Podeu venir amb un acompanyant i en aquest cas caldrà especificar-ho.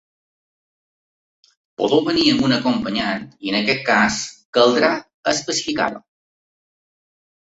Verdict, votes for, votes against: accepted, 2, 1